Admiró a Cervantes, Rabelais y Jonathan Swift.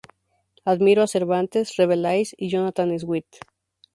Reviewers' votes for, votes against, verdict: 2, 0, accepted